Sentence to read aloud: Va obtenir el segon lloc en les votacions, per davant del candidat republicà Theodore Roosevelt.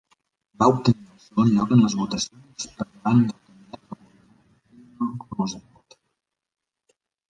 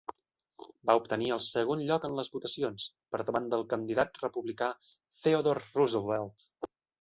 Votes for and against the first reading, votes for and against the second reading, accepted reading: 0, 2, 2, 0, second